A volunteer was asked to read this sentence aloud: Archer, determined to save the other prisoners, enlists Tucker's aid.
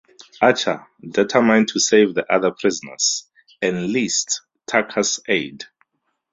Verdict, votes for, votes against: accepted, 4, 0